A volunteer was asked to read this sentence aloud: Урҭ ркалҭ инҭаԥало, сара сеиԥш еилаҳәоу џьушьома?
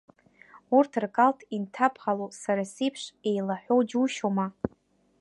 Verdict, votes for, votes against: accepted, 2, 0